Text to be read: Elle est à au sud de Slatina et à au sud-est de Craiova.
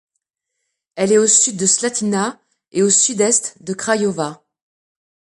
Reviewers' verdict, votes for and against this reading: rejected, 0, 2